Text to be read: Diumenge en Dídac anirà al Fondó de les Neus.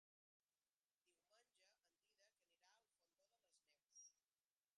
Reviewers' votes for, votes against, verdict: 0, 2, rejected